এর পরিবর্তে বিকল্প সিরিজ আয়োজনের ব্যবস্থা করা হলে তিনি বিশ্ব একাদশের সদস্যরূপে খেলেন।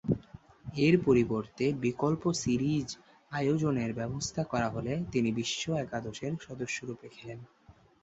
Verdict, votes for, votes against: accepted, 4, 0